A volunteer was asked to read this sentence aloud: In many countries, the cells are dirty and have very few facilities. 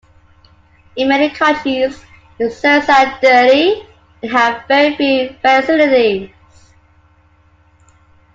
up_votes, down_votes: 2, 1